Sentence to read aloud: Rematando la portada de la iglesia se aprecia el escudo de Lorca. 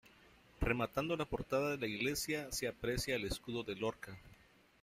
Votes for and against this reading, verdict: 0, 3, rejected